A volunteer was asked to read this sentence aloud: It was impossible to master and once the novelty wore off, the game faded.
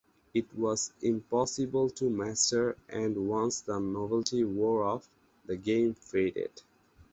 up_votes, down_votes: 0, 4